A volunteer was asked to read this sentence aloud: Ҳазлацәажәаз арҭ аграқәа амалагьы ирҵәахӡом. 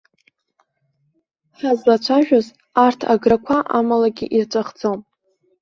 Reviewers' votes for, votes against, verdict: 2, 0, accepted